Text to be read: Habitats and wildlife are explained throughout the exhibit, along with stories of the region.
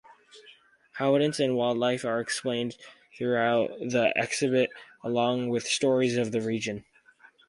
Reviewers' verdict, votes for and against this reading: rejected, 0, 2